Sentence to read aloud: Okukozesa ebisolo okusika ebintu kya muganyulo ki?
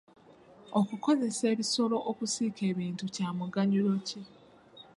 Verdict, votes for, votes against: rejected, 0, 2